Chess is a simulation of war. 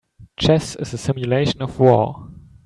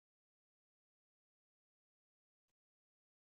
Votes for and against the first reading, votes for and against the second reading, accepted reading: 2, 0, 0, 2, first